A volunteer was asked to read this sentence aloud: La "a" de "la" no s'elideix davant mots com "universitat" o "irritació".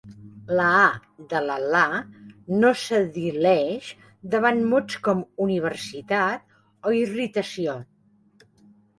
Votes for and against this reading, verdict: 1, 2, rejected